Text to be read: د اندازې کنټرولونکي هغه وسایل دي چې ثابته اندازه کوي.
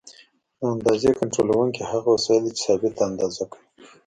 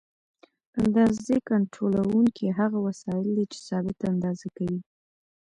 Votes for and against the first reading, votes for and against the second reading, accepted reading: 1, 2, 2, 0, second